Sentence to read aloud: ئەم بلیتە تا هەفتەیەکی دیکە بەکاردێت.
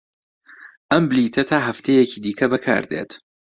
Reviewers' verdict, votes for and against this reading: accepted, 2, 0